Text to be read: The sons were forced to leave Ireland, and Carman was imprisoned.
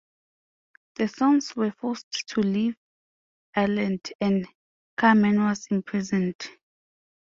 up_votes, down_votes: 2, 0